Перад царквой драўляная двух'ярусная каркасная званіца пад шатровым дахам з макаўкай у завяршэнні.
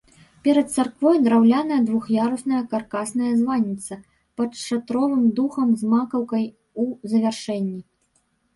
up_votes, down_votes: 1, 3